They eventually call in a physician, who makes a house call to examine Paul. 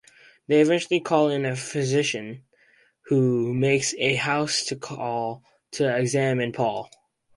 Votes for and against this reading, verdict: 0, 2, rejected